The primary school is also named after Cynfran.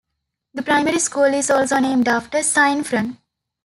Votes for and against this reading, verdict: 2, 1, accepted